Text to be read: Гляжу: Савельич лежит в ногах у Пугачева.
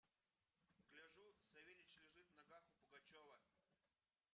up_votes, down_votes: 1, 2